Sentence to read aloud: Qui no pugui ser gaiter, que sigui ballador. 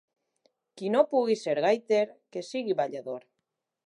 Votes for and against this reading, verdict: 2, 0, accepted